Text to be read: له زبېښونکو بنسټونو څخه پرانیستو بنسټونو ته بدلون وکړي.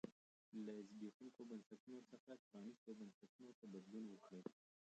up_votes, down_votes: 1, 2